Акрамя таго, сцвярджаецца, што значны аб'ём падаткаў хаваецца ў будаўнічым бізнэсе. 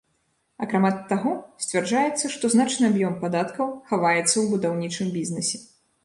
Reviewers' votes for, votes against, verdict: 1, 2, rejected